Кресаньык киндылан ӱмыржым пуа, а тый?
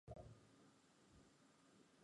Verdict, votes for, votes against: rejected, 0, 2